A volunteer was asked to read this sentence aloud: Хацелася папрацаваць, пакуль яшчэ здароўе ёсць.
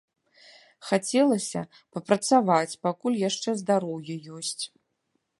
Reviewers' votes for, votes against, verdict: 2, 0, accepted